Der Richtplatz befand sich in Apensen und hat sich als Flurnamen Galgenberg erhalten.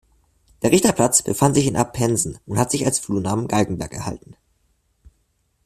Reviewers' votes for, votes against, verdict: 0, 2, rejected